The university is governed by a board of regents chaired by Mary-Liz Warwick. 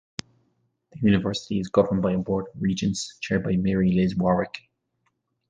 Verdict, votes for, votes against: accepted, 2, 1